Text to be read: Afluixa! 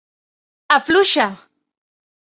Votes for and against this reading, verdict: 3, 0, accepted